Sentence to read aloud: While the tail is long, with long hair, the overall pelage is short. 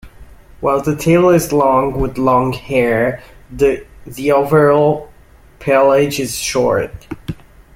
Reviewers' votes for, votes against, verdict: 1, 2, rejected